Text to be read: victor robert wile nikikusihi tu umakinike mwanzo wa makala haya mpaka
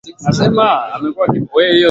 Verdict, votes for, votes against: rejected, 0, 2